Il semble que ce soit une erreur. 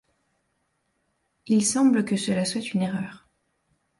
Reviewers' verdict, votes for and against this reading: rejected, 1, 2